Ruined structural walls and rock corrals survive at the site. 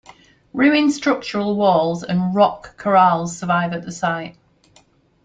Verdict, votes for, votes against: accepted, 2, 0